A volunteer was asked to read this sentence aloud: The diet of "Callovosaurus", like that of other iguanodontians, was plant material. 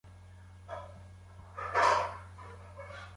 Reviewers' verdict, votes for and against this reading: rejected, 0, 2